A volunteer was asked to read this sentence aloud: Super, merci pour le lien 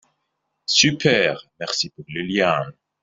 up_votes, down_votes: 1, 2